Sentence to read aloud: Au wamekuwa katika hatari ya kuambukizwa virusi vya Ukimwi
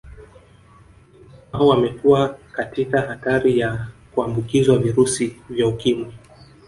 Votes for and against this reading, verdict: 0, 2, rejected